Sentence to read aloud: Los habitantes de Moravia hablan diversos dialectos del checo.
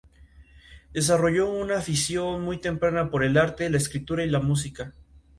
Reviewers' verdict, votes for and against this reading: rejected, 0, 2